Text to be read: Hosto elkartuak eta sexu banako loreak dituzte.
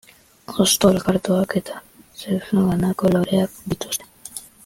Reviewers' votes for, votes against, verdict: 0, 2, rejected